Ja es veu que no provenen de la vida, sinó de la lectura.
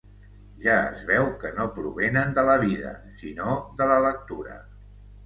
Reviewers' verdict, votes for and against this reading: accepted, 2, 0